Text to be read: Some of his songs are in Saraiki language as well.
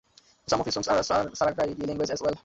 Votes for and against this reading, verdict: 0, 2, rejected